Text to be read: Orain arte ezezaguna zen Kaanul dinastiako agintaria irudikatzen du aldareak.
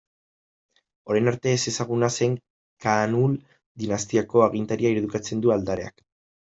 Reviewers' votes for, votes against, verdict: 1, 2, rejected